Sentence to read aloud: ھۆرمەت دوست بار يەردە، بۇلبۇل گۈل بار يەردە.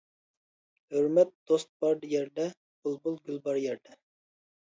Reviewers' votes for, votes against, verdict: 2, 0, accepted